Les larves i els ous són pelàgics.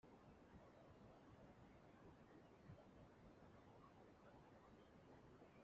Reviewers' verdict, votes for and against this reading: rejected, 0, 2